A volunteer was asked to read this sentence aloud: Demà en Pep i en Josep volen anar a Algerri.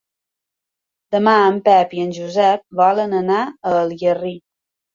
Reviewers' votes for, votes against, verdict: 3, 1, accepted